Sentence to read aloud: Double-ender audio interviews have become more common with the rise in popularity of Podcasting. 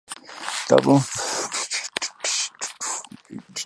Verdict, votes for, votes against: rejected, 0, 2